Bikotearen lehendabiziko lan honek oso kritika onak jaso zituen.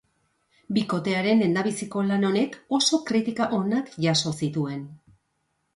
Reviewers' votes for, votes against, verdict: 2, 0, accepted